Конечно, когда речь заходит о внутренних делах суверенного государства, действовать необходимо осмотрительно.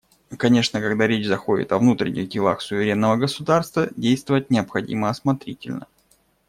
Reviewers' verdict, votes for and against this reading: accepted, 2, 0